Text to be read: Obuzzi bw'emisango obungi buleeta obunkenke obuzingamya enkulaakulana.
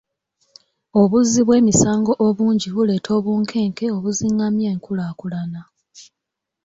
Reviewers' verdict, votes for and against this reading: accepted, 2, 0